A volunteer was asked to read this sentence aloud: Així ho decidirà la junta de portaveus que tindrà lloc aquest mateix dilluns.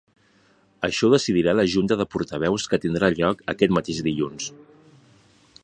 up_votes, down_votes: 2, 1